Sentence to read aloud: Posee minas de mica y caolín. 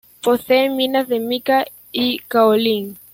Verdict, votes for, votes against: accepted, 2, 1